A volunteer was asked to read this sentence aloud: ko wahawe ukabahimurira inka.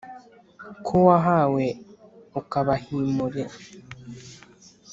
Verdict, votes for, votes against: rejected, 1, 2